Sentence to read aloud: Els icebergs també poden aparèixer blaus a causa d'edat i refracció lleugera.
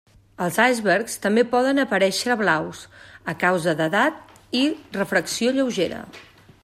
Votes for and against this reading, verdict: 2, 0, accepted